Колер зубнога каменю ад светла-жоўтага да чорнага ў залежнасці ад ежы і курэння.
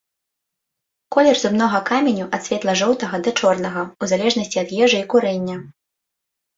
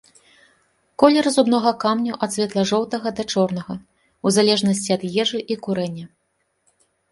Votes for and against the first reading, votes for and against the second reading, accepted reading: 2, 0, 0, 2, first